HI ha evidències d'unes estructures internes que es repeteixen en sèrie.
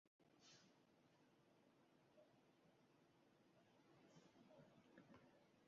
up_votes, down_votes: 0, 2